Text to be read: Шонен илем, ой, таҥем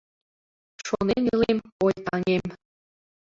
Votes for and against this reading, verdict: 0, 2, rejected